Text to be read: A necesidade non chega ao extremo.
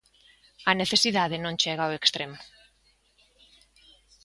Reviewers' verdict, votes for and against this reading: accepted, 3, 0